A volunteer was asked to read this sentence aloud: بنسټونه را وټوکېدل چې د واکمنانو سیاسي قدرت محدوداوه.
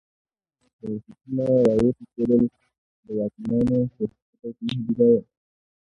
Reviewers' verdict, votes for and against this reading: rejected, 1, 2